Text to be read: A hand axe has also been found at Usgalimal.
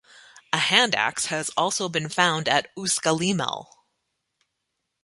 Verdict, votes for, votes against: accepted, 3, 0